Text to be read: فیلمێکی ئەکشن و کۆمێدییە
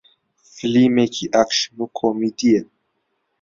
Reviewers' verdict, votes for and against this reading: rejected, 0, 2